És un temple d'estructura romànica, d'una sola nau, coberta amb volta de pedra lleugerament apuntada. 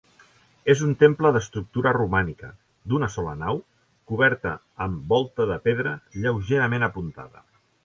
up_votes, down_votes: 2, 0